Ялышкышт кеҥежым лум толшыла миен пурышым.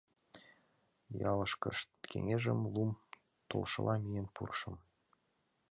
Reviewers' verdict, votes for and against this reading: accepted, 2, 0